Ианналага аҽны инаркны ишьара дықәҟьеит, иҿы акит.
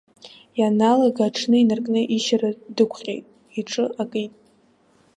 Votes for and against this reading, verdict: 0, 2, rejected